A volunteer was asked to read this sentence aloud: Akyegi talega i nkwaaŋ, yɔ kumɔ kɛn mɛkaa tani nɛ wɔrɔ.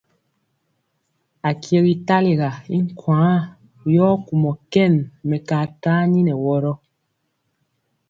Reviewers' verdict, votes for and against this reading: accepted, 2, 0